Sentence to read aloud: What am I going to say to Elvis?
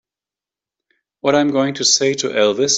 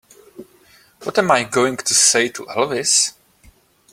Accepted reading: second